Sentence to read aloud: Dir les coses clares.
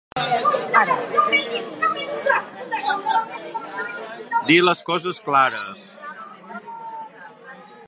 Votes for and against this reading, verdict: 1, 3, rejected